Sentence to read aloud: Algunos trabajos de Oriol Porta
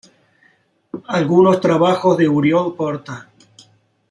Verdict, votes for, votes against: rejected, 1, 2